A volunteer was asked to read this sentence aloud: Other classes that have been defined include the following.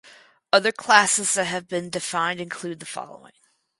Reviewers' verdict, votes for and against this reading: accepted, 4, 0